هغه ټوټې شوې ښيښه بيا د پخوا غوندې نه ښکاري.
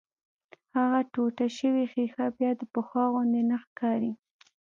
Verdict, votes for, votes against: rejected, 1, 2